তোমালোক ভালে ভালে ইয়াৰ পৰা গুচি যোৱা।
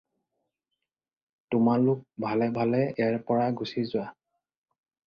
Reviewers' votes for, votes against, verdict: 4, 0, accepted